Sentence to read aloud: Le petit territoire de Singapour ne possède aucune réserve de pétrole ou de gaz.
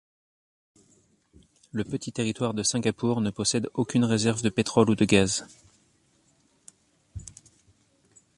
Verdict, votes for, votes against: accepted, 2, 1